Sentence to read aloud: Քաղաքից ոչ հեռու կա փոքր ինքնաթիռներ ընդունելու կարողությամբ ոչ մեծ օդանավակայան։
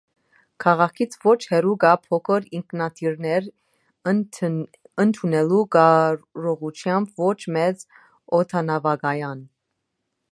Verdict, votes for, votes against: rejected, 0, 2